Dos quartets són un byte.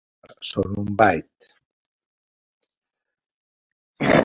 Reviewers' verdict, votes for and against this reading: rejected, 0, 2